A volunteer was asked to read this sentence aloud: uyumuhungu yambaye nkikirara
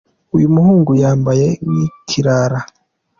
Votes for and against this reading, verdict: 2, 0, accepted